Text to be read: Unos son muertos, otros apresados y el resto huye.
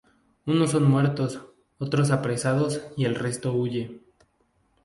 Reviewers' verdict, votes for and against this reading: accepted, 2, 0